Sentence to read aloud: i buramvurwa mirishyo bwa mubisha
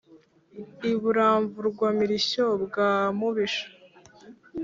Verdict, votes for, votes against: accepted, 3, 0